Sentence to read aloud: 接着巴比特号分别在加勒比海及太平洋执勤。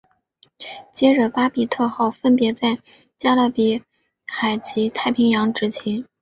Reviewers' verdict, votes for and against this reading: accepted, 2, 0